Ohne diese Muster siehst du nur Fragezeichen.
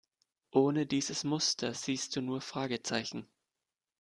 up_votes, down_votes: 1, 2